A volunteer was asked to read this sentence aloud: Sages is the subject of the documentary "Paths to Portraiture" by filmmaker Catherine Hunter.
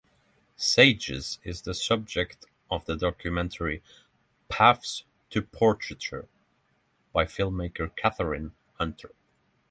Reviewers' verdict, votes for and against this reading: accepted, 3, 0